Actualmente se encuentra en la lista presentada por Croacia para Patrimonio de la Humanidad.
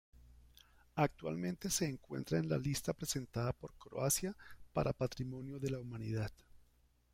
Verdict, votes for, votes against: accepted, 2, 0